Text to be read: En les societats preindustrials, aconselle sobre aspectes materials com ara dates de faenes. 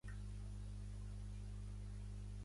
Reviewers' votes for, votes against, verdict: 0, 2, rejected